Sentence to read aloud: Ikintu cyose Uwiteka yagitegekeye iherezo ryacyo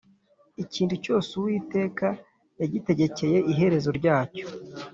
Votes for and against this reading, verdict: 2, 0, accepted